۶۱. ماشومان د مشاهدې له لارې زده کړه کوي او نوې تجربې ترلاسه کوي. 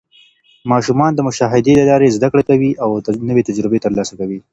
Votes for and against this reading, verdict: 0, 2, rejected